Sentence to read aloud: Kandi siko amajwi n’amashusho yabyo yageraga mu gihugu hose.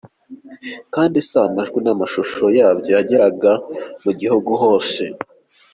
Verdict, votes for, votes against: accepted, 2, 0